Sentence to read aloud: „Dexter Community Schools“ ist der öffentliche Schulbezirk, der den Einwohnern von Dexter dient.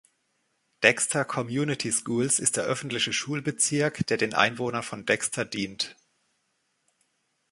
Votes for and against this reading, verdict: 0, 2, rejected